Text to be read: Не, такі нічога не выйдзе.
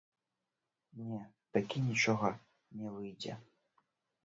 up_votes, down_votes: 0, 2